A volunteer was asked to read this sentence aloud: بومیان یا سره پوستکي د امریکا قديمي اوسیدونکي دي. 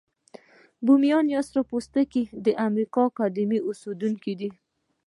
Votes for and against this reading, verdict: 2, 0, accepted